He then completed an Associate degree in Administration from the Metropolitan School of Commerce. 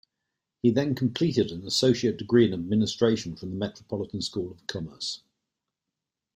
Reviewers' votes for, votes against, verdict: 2, 0, accepted